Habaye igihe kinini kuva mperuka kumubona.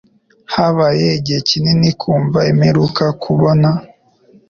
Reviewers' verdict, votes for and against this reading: rejected, 1, 2